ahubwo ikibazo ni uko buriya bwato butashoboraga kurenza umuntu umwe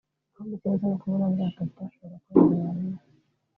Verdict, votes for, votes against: rejected, 0, 2